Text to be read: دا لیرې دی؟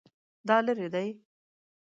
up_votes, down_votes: 2, 0